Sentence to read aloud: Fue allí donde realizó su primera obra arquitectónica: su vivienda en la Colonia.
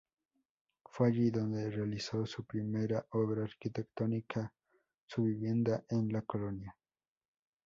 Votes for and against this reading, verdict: 2, 0, accepted